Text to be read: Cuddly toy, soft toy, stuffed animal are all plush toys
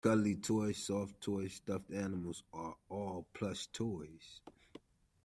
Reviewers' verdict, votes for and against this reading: accepted, 2, 1